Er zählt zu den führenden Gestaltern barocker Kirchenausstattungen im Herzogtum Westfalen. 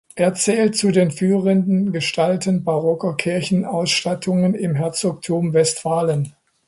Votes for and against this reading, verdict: 1, 2, rejected